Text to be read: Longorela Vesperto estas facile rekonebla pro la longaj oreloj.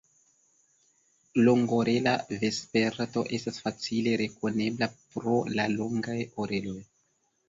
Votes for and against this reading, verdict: 1, 2, rejected